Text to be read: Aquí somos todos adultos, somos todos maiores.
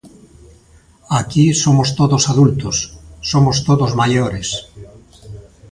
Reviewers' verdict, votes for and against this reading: rejected, 0, 2